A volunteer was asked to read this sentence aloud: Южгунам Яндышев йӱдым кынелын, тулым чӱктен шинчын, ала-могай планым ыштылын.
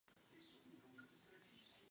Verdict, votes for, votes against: rejected, 0, 2